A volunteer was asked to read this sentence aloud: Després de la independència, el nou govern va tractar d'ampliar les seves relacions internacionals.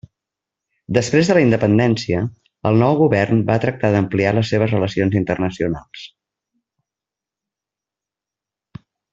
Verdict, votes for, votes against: accepted, 3, 0